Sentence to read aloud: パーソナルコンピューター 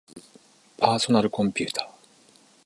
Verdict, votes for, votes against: accepted, 2, 0